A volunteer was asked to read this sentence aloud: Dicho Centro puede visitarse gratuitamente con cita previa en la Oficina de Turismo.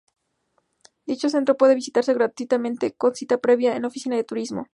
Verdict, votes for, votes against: accepted, 4, 0